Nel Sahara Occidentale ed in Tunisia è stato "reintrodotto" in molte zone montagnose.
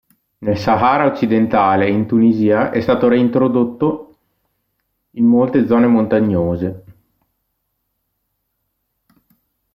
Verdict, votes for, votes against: rejected, 1, 2